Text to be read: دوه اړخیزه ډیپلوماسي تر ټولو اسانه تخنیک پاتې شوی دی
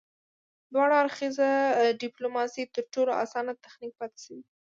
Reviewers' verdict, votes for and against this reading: rejected, 1, 2